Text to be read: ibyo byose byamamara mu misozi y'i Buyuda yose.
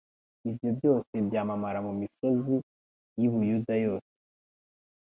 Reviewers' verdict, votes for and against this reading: accepted, 2, 0